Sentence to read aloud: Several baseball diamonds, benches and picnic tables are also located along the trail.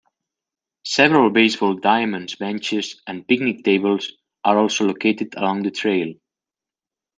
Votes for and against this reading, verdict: 2, 0, accepted